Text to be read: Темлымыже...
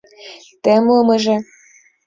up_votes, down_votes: 2, 0